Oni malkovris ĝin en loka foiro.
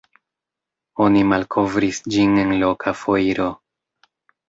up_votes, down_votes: 1, 2